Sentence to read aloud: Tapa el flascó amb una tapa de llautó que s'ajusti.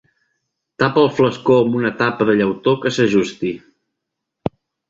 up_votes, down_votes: 2, 0